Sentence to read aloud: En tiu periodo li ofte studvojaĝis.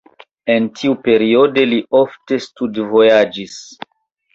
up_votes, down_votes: 2, 0